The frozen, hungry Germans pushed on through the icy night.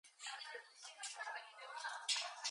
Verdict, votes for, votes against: rejected, 0, 2